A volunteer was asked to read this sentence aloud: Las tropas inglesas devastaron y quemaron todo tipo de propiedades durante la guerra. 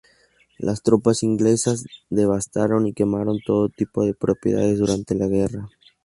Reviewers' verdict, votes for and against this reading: accepted, 2, 0